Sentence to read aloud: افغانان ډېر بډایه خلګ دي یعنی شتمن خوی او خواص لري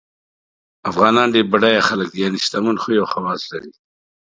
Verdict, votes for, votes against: accepted, 2, 0